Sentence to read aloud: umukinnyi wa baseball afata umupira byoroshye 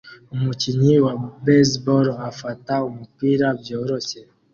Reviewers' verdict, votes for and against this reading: accepted, 2, 0